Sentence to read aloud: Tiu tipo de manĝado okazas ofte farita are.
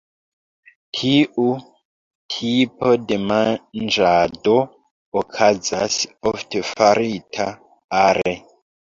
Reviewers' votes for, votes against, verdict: 0, 2, rejected